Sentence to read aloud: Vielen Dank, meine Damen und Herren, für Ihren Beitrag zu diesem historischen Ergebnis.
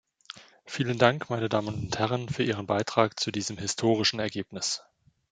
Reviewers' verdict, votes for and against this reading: accepted, 2, 0